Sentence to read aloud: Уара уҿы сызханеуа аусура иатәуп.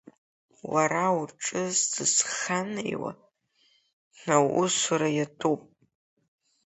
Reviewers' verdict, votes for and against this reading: accepted, 2, 0